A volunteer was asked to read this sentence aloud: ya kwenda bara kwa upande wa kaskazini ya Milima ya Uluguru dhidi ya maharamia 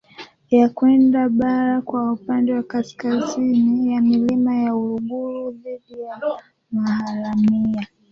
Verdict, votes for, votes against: rejected, 0, 2